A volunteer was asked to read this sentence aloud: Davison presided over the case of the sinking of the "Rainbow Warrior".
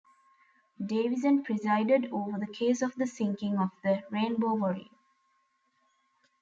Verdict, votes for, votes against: rejected, 0, 2